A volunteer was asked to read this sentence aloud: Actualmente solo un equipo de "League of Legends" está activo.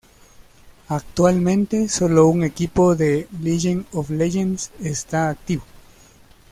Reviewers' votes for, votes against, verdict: 0, 2, rejected